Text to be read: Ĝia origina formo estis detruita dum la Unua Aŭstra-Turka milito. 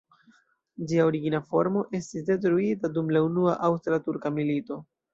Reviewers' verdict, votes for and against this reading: accepted, 2, 0